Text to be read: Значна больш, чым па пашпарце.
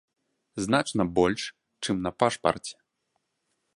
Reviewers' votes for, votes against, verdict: 0, 2, rejected